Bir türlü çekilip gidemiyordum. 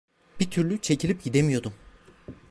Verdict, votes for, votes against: accepted, 2, 0